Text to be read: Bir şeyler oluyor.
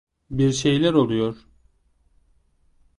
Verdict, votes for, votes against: accepted, 2, 0